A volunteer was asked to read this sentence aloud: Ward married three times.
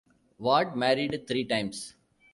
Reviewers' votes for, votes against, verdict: 2, 0, accepted